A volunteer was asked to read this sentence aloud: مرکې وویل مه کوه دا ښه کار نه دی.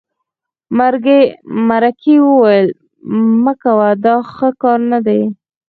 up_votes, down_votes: 2, 4